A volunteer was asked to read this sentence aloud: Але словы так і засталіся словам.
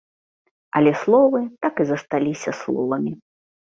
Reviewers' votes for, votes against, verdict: 1, 2, rejected